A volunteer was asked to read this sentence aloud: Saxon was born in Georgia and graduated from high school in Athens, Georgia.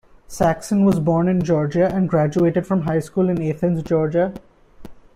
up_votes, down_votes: 2, 0